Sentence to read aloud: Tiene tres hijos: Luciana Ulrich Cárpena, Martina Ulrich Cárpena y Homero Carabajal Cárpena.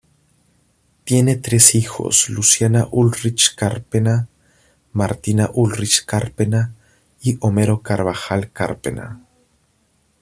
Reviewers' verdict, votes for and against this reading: rejected, 1, 2